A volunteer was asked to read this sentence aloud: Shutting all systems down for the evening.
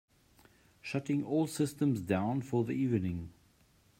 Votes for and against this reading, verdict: 2, 0, accepted